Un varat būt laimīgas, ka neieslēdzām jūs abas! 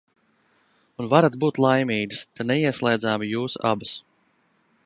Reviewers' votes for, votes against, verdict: 2, 0, accepted